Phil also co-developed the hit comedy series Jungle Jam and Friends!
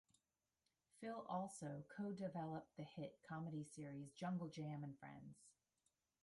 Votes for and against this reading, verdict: 0, 3, rejected